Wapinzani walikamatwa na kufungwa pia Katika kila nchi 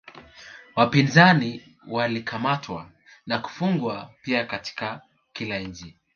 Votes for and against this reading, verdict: 2, 0, accepted